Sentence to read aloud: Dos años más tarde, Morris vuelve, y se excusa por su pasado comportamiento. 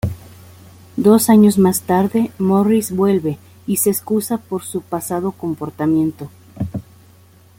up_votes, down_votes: 2, 0